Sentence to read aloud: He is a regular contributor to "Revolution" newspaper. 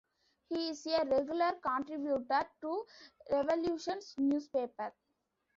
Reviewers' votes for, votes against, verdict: 0, 2, rejected